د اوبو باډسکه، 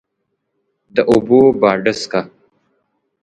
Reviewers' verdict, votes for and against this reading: accepted, 3, 0